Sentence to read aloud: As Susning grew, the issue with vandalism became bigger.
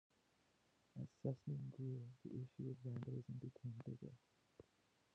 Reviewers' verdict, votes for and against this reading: rejected, 1, 2